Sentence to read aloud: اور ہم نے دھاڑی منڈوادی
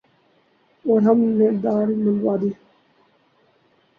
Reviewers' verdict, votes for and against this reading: rejected, 2, 4